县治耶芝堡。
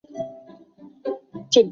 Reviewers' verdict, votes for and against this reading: rejected, 0, 2